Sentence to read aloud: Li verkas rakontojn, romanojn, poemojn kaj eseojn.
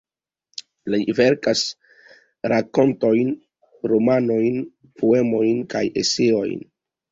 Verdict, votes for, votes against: rejected, 1, 2